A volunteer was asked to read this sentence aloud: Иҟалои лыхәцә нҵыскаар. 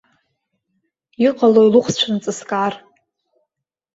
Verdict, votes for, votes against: accepted, 2, 1